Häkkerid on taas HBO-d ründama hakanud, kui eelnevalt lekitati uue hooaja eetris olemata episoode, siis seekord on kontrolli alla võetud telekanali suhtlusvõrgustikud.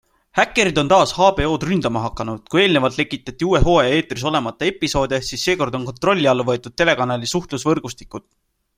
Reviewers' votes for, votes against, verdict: 2, 0, accepted